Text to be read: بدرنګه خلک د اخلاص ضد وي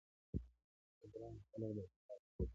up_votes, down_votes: 1, 2